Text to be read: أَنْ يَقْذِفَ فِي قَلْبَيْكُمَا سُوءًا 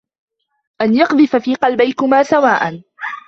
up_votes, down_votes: 1, 2